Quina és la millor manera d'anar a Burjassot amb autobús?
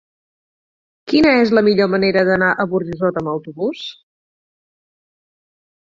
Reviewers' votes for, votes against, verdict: 2, 4, rejected